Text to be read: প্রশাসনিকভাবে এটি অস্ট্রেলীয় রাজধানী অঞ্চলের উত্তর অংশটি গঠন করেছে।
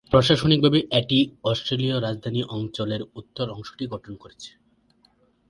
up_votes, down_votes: 2, 0